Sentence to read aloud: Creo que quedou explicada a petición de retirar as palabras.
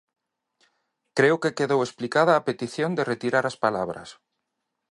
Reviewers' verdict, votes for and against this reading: accepted, 2, 0